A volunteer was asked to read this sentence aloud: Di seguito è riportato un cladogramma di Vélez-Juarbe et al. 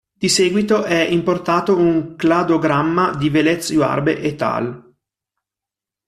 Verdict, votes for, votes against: rejected, 0, 2